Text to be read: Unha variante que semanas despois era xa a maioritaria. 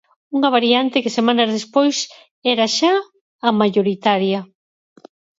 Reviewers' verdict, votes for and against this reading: rejected, 2, 4